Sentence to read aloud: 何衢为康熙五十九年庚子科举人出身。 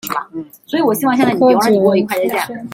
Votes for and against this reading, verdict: 0, 2, rejected